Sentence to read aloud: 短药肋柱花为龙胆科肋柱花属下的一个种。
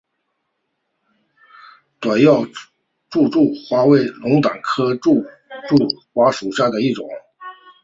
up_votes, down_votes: 5, 2